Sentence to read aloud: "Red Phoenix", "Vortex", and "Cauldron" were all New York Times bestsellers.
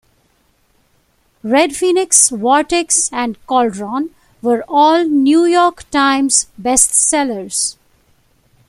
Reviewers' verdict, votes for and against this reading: accepted, 2, 0